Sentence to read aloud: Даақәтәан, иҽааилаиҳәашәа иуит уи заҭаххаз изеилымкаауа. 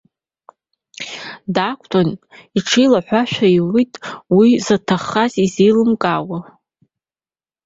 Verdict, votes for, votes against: accepted, 2, 0